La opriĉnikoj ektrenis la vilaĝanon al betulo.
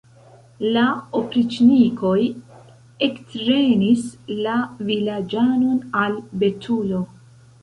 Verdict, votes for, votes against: accepted, 2, 1